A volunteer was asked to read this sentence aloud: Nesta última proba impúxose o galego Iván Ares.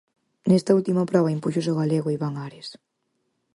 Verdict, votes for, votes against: accepted, 4, 0